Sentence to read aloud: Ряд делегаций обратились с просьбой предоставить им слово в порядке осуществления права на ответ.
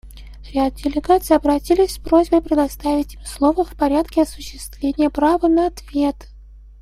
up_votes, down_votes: 0, 2